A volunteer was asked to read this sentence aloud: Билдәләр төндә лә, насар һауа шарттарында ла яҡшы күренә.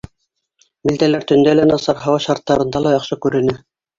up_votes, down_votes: 2, 0